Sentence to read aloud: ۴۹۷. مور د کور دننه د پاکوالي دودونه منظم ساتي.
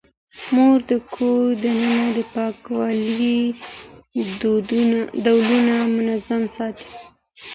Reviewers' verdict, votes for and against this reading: rejected, 0, 2